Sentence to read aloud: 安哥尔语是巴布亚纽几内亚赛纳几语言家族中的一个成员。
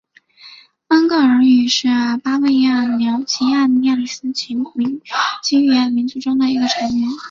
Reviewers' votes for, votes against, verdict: 0, 2, rejected